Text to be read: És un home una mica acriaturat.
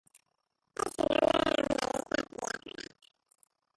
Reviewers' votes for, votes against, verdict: 0, 2, rejected